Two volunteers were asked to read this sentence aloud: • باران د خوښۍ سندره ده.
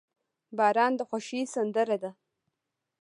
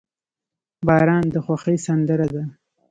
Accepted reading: second